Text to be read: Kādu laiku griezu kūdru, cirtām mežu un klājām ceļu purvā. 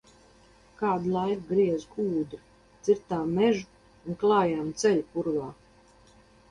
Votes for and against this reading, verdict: 2, 2, rejected